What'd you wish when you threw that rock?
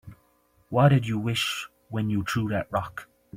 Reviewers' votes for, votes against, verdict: 1, 2, rejected